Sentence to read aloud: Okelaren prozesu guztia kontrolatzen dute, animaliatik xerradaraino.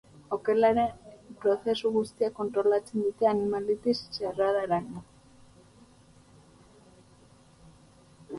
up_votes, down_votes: 0, 2